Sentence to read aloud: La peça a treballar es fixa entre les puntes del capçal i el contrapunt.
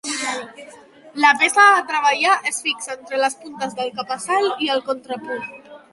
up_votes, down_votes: 0, 2